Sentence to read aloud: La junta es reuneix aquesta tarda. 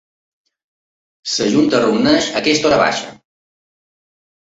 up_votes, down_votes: 0, 2